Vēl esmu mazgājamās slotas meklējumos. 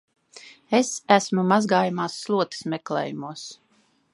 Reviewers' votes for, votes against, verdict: 0, 2, rejected